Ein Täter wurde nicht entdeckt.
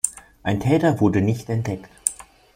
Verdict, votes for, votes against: accepted, 2, 0